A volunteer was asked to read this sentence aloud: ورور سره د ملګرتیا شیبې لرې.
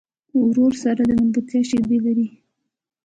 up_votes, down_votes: 0, 2